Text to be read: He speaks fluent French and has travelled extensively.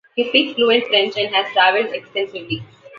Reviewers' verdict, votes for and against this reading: accepted, 2, 0